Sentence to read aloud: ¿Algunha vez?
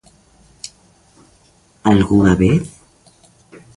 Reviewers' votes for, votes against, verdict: 2, 0, accepted